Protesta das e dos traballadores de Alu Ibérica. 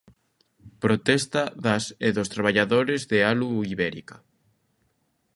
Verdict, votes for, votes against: accepted, 2, 0